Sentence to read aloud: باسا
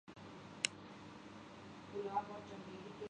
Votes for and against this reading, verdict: 0, 2, rejected